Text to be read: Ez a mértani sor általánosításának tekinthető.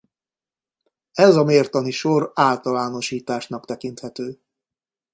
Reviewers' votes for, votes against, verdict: 0, 2, rejected